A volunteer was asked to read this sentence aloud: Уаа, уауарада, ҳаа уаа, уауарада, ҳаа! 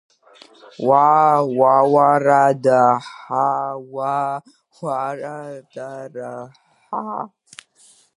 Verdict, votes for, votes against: rejected, 0, 2